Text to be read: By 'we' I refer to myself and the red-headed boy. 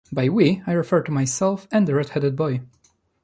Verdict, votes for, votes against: accepted, 2, 1